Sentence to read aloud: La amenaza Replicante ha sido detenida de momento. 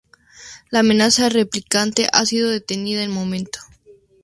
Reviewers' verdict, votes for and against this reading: accepted, 6, 0